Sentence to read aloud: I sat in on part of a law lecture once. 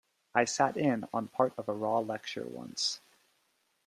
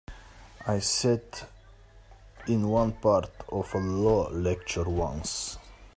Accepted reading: first